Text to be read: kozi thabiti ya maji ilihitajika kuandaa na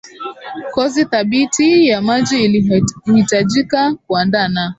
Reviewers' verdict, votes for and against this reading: rejected, 1, 2